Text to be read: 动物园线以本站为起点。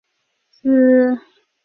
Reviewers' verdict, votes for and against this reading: rejected, 0, 3